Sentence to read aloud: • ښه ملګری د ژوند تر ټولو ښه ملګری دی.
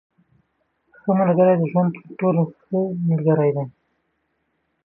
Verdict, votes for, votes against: accepted, 2, 0